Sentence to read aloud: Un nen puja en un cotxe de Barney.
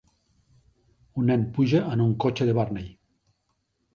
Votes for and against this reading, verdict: 3, 0, accepted